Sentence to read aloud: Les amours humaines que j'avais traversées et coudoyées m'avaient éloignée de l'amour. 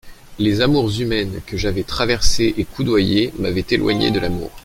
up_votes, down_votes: 2, 0